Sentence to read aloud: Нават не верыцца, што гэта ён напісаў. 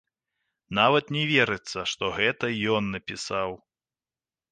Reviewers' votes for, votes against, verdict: 2, 0, accepted